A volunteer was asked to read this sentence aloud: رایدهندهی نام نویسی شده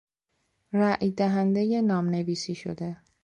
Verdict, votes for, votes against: accepted, 2, 0